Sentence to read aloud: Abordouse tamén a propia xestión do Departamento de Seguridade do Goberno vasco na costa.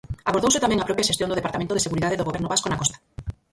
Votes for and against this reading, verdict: 2, 4, rejected